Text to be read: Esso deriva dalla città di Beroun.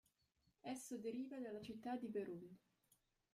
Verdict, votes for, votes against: rejected, 0, 2